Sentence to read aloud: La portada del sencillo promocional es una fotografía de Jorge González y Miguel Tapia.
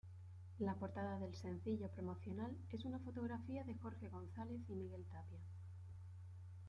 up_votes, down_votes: 1, 2